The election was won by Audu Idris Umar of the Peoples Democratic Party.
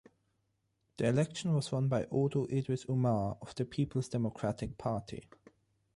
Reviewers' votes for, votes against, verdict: 6, 0, accepted